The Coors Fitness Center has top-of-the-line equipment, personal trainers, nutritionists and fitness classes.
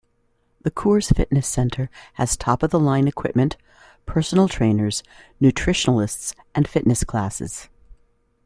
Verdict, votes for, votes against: rejected, 0, 2